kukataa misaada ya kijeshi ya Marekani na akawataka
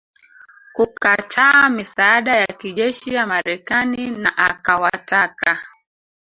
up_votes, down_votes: 2, 3